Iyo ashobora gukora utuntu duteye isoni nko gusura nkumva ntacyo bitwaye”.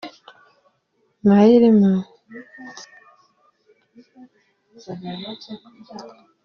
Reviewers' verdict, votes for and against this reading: rejected, 0, 2